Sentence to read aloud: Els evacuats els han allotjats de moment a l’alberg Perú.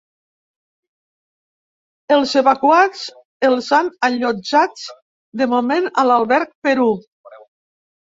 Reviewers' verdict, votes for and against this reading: rejected, 1, 2